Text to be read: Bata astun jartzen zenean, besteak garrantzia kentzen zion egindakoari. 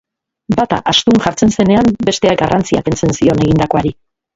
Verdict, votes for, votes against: rejected, 1, 2